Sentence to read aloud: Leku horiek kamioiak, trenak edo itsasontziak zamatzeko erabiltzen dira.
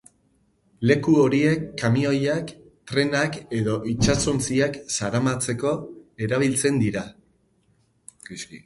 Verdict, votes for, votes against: rejected, 2, 4